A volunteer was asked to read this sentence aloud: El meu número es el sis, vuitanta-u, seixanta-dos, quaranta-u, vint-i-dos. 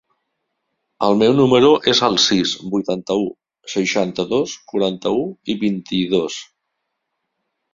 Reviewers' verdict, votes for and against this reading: rejected, 0, 2